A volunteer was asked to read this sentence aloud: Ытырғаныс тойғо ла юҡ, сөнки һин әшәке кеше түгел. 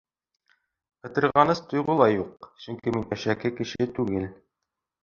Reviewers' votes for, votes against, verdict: 2, 0, accepted